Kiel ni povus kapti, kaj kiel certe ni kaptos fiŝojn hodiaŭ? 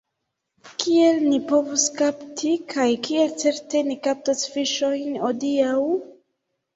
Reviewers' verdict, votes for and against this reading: accepted, 2, 1